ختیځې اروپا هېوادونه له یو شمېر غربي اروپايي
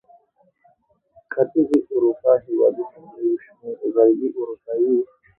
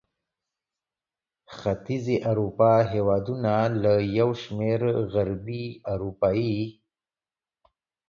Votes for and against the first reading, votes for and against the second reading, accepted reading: 1, 2, 2, 0, second